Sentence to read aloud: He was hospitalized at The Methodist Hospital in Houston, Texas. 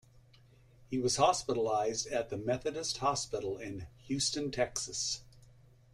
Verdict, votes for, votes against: accepted, 2, 0